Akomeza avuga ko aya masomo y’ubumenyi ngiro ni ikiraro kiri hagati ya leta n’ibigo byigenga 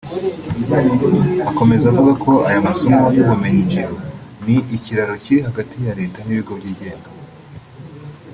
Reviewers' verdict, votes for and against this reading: rejected, 1, 3